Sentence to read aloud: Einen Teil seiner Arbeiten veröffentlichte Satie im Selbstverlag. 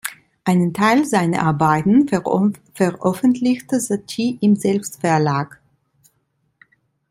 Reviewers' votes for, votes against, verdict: 0, 2, rejected